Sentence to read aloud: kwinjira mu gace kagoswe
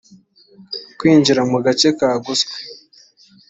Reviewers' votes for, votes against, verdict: 2, 0, accepted